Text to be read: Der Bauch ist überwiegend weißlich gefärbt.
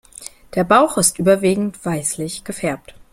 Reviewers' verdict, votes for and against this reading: accepted, 2, 0